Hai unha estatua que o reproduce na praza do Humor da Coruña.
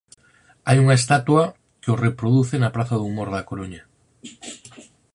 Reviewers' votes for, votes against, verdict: 4, 0, accepted